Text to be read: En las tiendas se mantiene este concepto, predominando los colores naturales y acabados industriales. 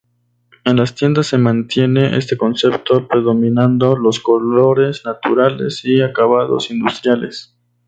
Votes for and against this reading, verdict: 2, 0, accepted